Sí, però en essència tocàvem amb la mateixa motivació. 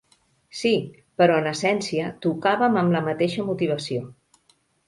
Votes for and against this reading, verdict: 2, 0, accepted